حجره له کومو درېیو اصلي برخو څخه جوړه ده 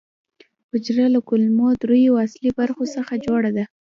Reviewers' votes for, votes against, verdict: 2, 0, accepted